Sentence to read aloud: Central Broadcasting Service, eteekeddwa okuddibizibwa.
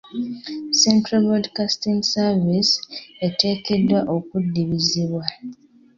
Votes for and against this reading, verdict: 0, 2, rejected